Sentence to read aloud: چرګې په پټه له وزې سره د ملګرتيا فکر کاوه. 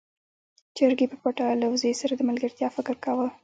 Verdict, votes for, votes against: rejected, 1, 2